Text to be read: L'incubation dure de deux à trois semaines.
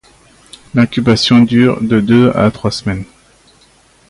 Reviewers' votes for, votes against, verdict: 2, 0, accepted